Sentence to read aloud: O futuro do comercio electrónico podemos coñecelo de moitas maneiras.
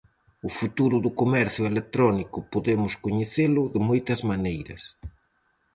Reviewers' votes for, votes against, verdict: 4, 0, accepted